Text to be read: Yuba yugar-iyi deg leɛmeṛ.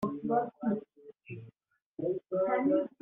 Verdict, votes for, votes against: rejected, 0, 2